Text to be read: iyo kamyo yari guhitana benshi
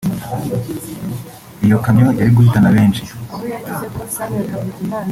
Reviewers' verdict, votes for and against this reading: accepted, 3, 0